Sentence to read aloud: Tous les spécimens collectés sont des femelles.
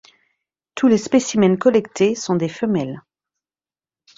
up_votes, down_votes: 2, 0